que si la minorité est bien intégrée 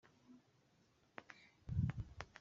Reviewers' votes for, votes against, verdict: 1, 2, rejected